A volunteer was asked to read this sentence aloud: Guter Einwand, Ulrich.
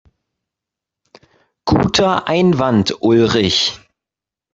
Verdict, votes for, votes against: rejected, 1, 2